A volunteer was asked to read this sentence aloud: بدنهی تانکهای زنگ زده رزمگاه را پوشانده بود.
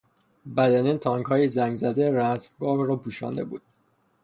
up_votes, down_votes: 6, 0